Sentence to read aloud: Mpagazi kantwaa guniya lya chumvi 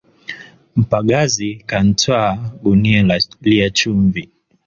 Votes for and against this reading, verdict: 3, 2, accepted